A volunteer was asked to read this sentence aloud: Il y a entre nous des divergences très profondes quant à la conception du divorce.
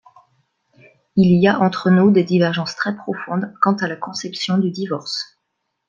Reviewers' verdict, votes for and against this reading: accepted, 2, 0